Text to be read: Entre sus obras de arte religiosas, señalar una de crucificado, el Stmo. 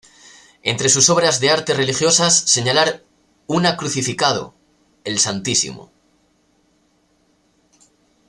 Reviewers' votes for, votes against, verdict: 0, 2, rejected